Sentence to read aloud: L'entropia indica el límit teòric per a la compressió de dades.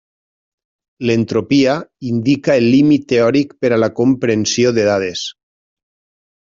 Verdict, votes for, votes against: rejected, 0, 2